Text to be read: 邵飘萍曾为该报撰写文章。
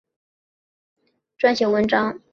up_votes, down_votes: 0, 3